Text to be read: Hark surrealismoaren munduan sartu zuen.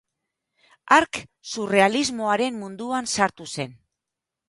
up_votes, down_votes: 0, 2